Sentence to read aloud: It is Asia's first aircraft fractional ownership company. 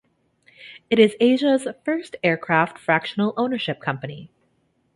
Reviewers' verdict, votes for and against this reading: accepted, 2, 0